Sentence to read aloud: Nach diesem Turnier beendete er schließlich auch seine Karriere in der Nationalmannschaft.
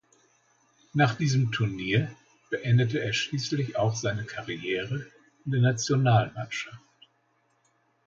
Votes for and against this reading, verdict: 1, 2, rejected